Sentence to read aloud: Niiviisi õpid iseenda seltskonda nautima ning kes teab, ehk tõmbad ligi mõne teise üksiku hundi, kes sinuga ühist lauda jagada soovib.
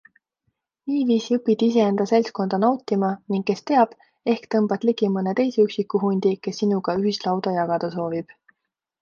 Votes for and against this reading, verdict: 2, 0, accepted